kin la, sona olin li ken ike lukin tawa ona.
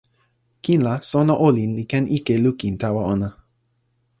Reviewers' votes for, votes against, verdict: 2, 0, accepted